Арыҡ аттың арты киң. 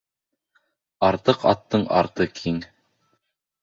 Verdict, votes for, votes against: rejected, 1, 2